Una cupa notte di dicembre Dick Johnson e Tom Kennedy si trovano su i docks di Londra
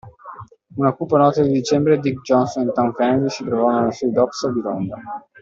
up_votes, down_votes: 0, 2